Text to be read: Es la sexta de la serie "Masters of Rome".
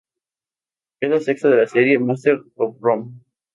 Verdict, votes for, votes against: accepted, 4, 0